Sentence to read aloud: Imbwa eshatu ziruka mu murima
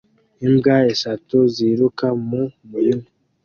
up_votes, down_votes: 2, 0